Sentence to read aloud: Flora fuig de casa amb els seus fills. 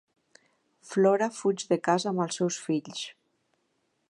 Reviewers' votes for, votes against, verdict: 3, 0, accepted